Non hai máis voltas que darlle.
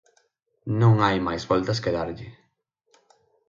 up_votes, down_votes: 6, 0